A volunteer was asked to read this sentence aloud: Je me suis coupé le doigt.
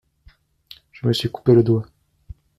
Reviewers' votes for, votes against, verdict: 2, 0, accepted